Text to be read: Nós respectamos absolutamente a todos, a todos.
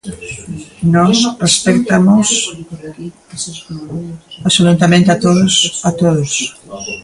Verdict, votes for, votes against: rejected, 0, 2